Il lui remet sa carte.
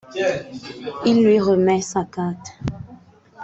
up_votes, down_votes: 2, 0